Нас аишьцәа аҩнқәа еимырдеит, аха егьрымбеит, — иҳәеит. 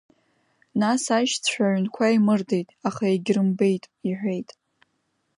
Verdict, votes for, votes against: accepted, 2, 0